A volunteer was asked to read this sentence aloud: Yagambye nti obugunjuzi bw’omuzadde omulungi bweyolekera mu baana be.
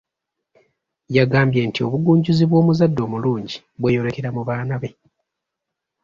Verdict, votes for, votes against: accepted, 3, 1